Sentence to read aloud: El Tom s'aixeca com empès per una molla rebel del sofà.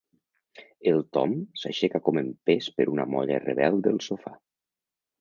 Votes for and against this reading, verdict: 2, 0, accepted